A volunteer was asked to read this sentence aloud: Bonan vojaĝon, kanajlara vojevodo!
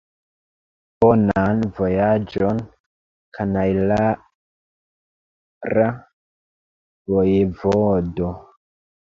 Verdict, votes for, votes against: rejected, 0, 2